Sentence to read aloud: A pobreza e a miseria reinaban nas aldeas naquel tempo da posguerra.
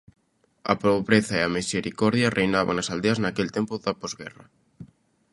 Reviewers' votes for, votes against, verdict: 0, 2, rejected